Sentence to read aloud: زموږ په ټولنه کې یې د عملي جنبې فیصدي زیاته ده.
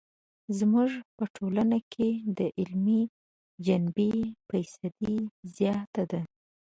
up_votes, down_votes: 1, 2